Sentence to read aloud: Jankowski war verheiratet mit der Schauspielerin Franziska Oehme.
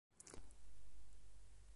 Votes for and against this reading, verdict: 0, 2, rejected